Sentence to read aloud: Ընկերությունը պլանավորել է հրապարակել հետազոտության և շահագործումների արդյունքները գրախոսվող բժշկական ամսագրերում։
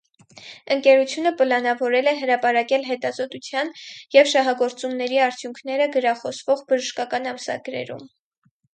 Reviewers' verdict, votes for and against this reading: accepted, 4, 0